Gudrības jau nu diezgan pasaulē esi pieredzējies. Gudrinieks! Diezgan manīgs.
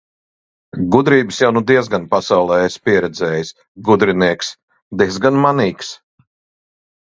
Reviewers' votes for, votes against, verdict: 2, 0, accepted